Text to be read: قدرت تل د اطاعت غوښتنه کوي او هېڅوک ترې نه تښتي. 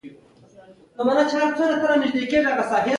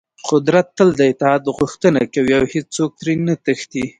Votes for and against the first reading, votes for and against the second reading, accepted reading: 1, 2, 2, 0, second